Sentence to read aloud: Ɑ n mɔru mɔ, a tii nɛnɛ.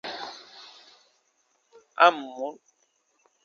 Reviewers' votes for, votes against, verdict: 0, 2, rejected